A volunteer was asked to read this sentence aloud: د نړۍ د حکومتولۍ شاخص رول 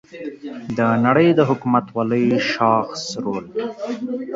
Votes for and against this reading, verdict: 1, 2, rejected